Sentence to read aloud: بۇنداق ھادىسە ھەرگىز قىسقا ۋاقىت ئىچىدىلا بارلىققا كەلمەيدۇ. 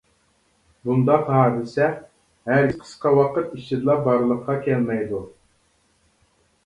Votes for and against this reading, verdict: 0, 2, rejected